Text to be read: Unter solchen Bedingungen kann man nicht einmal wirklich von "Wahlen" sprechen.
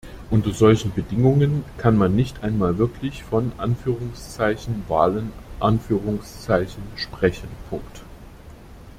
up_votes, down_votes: 0, 2